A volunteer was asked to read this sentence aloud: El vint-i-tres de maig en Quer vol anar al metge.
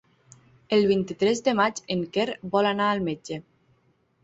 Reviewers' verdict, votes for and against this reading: accepted, 9, 0